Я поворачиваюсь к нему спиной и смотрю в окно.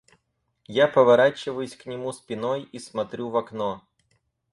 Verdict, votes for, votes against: accepted, 4, 2